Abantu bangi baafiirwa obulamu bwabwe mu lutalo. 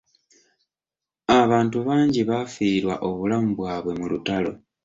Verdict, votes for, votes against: accepted, 2, 0